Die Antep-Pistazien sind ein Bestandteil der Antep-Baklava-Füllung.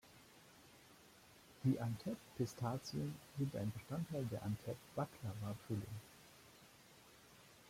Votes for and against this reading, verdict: 1, 2, rejected